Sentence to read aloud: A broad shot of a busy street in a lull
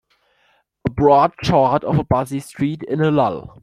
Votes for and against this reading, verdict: 2, 3, rejected